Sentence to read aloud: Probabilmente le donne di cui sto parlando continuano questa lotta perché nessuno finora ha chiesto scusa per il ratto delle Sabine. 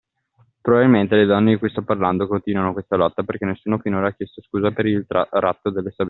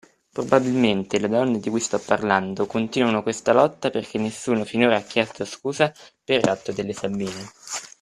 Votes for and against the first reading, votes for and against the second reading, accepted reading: 1, 2, 2, 0, second